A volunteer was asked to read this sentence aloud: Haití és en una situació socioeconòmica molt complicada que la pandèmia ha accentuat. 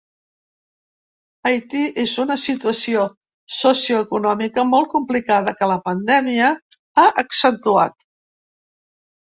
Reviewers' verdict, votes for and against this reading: rejected, 1, 2